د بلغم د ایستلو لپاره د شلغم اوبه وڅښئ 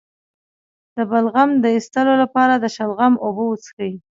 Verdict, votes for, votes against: accepted, 2, 0